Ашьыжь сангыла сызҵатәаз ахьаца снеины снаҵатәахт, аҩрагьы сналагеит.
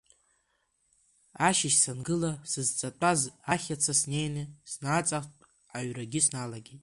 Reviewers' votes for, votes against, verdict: 0, 2, rejected